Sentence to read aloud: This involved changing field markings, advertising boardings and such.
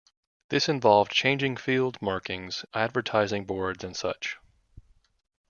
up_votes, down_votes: 1, 2